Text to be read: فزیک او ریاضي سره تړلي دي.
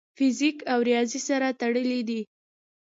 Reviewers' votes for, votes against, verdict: 2, 0, accepted